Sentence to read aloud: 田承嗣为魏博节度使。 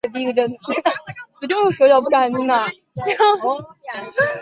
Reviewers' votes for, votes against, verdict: 0, 3, rejected